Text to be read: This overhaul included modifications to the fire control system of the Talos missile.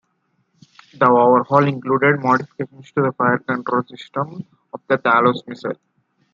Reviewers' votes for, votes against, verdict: 0, 2, rejected